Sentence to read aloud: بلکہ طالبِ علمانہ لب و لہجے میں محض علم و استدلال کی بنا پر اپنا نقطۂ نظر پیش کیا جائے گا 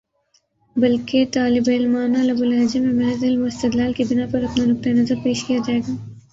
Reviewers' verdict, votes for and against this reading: rejected, 2, 2